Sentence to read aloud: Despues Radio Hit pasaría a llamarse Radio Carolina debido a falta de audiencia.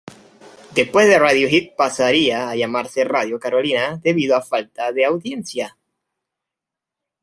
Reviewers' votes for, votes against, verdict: 1, 2, rejected